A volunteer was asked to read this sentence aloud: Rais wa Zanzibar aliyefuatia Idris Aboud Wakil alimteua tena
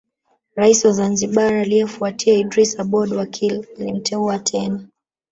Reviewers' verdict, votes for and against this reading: rejected, 1, 2